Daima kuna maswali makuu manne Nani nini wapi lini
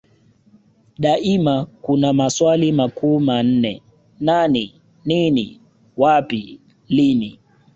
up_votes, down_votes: 2, 1